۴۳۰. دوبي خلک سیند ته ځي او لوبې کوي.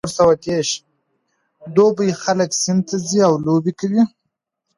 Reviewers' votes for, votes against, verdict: 0, 2, rejected